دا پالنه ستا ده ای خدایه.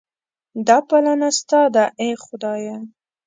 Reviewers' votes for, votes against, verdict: 2, 0, accepted